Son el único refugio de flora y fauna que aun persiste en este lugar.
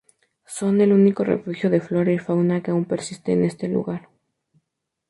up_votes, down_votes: 2, 0